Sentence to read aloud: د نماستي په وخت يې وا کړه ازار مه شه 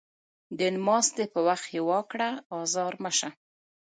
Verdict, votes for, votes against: accepted, 2, 0